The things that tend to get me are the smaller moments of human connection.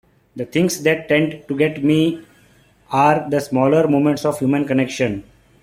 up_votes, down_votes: 2, 0